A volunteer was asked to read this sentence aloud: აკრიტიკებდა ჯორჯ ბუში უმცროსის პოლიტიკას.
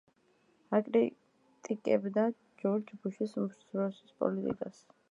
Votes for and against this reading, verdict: 2, 0, accepted